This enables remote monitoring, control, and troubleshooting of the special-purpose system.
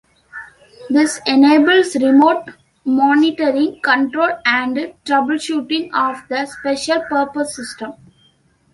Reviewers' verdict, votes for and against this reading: accepted, 2, 0